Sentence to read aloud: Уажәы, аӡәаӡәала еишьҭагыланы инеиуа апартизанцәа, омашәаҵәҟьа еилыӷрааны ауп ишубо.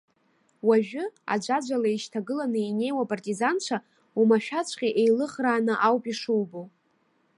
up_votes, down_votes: 2, 0